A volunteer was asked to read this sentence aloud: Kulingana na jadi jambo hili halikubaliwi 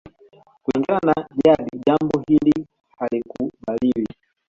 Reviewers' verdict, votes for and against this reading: rejected, 1, 2